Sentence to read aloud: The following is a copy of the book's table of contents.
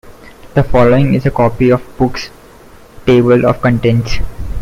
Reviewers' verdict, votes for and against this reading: rejected, 0, 2